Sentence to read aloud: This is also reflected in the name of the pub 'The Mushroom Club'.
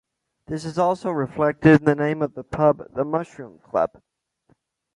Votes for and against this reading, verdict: 2, 0, accepted